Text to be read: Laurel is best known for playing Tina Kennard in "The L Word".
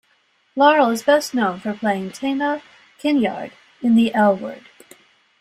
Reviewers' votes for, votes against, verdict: 0, 2, rejected